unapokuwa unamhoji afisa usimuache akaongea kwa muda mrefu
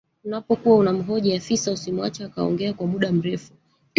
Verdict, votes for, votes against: rejected, 1, 2